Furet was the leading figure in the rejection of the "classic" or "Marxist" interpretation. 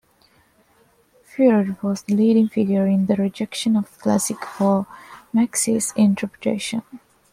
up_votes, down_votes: 1, 2